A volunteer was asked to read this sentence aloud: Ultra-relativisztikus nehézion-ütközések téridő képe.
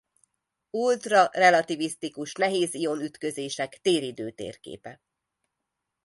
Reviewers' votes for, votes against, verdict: 1, 2, rejected